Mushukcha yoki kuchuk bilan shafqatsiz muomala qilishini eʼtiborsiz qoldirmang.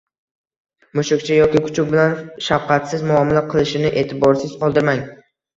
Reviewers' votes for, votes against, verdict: 1, 2, rejected